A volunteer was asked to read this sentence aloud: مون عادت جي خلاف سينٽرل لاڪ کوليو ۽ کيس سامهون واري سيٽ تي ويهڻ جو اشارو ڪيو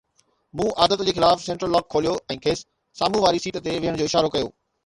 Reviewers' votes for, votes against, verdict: 2, 0, accepted